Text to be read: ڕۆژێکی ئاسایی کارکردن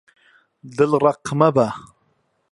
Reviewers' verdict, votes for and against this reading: rejected, 1, 2